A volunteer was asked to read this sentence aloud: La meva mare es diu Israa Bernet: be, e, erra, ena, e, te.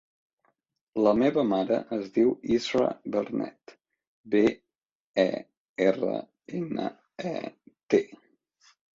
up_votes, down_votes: 2, 0